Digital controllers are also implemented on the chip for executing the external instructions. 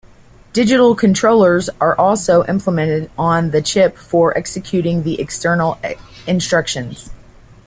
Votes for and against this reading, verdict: 2, 1, accepted